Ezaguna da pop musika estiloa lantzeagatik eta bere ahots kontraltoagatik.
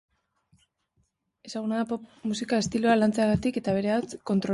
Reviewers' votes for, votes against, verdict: 0, 2, rejected